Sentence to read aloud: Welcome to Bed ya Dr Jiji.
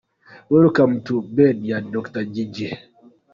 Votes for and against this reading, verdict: 2, 0, accepted